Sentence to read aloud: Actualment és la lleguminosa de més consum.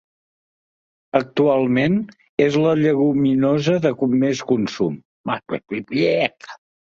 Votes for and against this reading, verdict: 1, 3, rejected